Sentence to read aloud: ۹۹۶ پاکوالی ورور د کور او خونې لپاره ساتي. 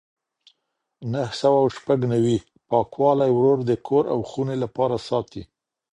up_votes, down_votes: 0, 2